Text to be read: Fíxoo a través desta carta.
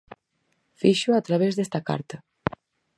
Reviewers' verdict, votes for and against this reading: accepted, 4, 0